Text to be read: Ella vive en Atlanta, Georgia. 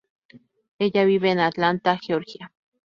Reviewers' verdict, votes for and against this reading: accepted, 2, 0